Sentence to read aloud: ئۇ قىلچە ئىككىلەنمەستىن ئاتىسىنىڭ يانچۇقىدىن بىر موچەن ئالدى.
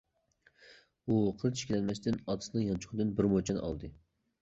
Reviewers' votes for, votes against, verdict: 1, 2, rejected